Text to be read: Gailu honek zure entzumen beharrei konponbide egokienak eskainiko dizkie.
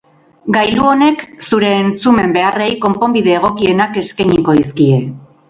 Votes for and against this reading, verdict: 2, 0, accepted